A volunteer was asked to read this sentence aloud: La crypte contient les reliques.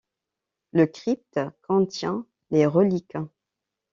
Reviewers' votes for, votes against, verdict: 1, 2, rejected